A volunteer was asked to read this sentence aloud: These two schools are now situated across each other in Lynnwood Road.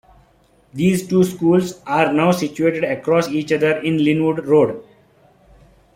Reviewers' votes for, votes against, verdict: 2, 0, accepted